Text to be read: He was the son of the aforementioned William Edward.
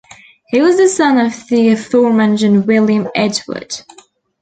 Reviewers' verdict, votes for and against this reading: accepted, 2, 0